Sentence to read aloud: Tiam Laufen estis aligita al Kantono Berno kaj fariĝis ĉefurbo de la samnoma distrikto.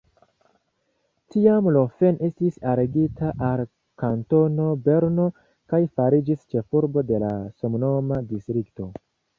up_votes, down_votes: 0, 2